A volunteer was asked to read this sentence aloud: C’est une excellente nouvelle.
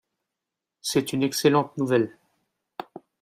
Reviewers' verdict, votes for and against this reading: accepted, 2, 1